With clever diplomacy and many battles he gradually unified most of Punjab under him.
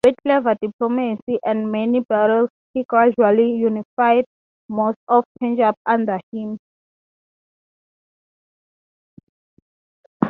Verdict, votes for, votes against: rejected, 0, 3